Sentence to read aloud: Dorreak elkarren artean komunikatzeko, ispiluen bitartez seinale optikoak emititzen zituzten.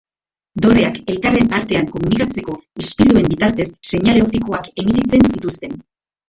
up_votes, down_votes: 1, 2